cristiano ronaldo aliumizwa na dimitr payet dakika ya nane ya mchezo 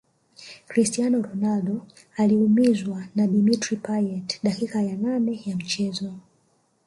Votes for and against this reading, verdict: 1, 2, rejected